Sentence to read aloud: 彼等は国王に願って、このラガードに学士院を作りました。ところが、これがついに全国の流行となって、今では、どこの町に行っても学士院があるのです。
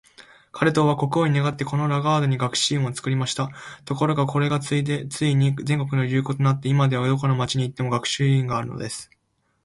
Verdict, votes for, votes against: rejected, 5, 8